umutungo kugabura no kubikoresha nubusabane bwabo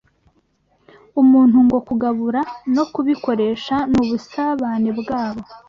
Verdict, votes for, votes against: rejected, 0, 2